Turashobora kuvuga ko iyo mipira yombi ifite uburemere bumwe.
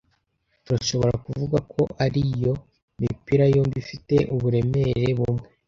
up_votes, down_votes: 1, 2